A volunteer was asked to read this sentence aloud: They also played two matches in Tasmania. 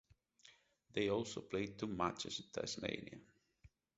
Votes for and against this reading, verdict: 4, 0, accepted